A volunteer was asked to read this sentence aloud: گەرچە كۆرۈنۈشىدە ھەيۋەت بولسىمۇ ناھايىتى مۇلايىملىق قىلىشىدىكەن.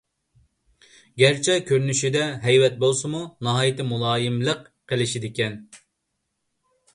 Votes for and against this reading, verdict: 2, 0, accepted